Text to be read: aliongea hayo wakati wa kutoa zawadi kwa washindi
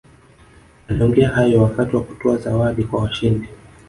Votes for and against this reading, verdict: 3, 0, accepted